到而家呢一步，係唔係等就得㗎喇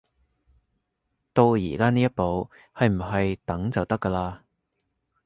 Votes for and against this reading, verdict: 2, 0, accepted